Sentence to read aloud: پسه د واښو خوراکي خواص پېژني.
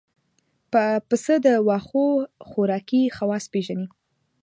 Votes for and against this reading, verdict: 1, 2, rejected